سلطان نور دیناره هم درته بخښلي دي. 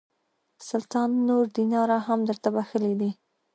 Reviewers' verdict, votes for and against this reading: accepted, 2, 0